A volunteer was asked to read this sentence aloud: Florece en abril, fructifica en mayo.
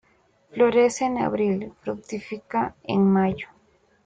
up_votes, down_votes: 2, 0